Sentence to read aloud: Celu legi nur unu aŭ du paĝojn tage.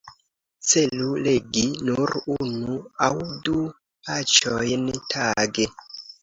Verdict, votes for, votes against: accepted, 2, 0